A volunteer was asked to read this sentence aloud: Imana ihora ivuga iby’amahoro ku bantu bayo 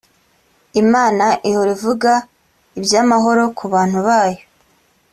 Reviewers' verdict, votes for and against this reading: accepted, 2, 0